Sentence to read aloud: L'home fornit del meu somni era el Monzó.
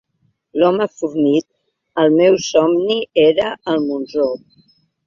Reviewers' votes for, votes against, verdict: 0, 2, rejected